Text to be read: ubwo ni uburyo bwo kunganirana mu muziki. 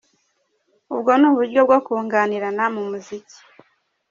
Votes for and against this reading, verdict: 2, 0, accepted